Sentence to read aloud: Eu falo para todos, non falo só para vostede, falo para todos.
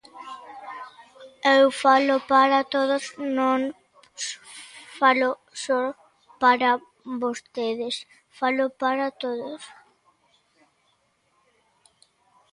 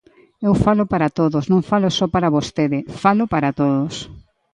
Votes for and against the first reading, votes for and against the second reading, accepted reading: 0, 2, 2, 0, second